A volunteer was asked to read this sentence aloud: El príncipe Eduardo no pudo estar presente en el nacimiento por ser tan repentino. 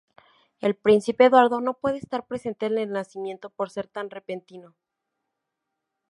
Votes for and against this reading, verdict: 2, 0, accepted